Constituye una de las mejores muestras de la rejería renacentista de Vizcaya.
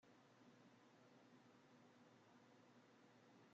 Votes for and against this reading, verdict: 0, 2, rejected